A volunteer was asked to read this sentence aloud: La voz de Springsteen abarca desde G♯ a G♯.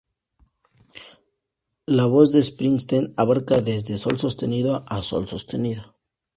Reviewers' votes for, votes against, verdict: 0, 2, rejected